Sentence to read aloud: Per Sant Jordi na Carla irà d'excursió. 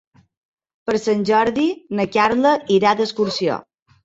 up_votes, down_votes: 3, 0